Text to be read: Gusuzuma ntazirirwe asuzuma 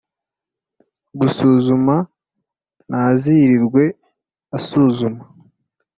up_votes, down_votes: 2, 0